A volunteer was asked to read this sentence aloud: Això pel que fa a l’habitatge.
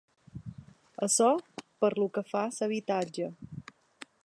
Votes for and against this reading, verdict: 1, 2, rejected